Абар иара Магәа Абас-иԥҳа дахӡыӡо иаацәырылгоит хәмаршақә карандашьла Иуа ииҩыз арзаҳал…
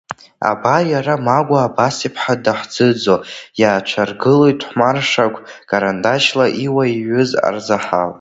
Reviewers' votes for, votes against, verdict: 2, 0, accepted